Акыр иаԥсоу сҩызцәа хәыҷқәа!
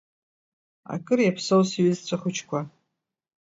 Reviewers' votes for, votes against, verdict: 2, 0, accepted